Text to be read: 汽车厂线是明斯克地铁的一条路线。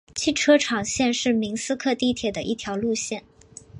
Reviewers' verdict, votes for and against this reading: accepted, 4, 0